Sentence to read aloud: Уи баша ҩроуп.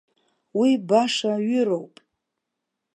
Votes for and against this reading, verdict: 0, 2, rejected